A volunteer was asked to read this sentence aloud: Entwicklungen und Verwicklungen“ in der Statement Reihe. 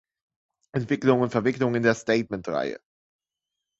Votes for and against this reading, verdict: 1, 2, rejected